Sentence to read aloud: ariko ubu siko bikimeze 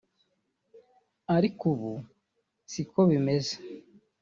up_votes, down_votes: 1, 2